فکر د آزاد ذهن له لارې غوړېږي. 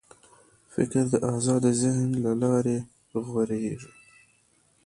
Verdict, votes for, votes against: rejected, 1, 2